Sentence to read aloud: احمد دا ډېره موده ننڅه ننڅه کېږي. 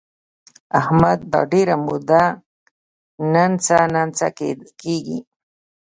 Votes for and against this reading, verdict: 2, 0, accepted